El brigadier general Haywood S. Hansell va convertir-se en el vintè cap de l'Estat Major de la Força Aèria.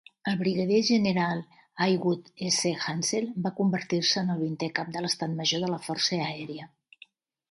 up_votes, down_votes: 2, 1